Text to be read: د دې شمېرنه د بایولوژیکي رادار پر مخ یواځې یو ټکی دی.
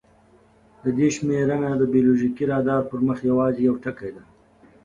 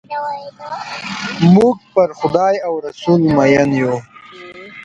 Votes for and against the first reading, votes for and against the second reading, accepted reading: 2, 0, 0, 2, first